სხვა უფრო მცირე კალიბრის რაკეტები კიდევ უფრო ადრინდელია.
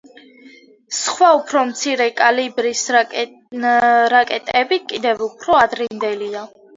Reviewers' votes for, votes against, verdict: 0, 2, rejected